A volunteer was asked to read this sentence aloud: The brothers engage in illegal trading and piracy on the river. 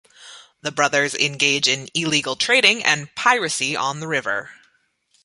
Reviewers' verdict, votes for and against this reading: accepted, 2, 0